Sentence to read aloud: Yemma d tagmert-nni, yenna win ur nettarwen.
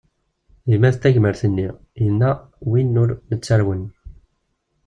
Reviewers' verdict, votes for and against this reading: rejected, 0, 2